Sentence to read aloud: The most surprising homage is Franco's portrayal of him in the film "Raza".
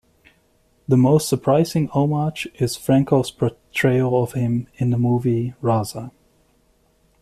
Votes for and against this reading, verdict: 0, 2, rejected